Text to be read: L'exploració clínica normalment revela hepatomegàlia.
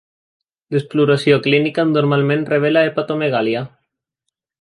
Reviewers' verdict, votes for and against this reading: accepted, 2, 0